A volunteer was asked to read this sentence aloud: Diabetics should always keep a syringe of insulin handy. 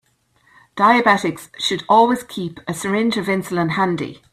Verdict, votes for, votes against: accepted, 2, 0